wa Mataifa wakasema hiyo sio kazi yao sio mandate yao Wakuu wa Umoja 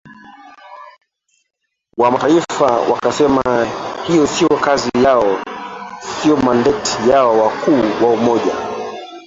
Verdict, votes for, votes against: rejected, 0, 2